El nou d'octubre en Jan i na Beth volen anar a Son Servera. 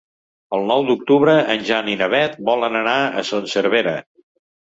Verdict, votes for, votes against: accepted, 2, 0